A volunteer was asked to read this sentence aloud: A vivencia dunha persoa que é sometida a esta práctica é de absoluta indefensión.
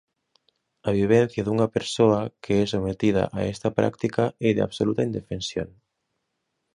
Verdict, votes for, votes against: accepted, 2, 0